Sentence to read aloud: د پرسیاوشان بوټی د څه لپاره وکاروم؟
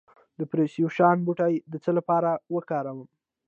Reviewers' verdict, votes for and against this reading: accepted, 2, 1